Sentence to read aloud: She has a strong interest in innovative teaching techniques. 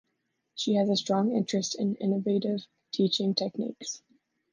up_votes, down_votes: 3, 0